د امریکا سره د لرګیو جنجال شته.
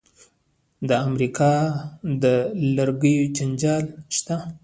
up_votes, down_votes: 0, 2